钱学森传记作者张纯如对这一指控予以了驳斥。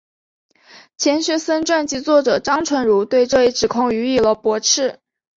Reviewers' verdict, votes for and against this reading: accepted, 6, 0